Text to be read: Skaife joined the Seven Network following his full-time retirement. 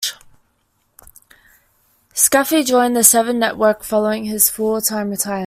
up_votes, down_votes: 0, 2